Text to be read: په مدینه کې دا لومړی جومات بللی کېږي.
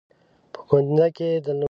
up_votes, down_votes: 0, 3